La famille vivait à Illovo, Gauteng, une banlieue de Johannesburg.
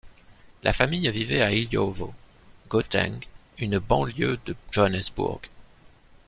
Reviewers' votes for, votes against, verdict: 2, 0, accepted